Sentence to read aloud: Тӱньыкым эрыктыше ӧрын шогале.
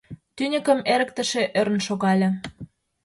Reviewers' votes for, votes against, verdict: 2, 0, accepted